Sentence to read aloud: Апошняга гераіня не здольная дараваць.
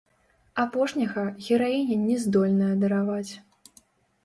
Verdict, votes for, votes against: rejected, 0, 2